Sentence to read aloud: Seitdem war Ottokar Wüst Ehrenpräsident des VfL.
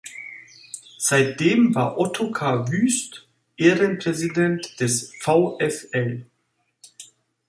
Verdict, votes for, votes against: rejected, 1, 2